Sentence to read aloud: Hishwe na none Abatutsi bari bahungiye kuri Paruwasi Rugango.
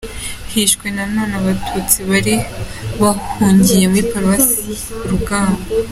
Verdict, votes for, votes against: accepted, 2, 0